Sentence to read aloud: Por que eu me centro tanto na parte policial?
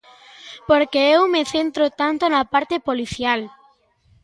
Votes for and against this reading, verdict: 2, 1, accepted